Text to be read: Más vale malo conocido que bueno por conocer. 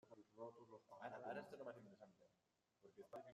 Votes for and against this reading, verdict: 0, 2, rejected